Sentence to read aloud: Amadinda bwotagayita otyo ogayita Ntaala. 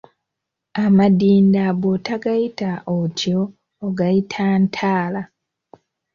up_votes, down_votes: 3, 0